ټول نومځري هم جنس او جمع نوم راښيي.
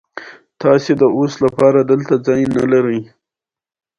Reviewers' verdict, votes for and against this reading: accepted, 2, 0